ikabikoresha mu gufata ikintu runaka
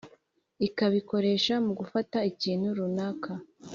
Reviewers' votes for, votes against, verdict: 2, 0, accepted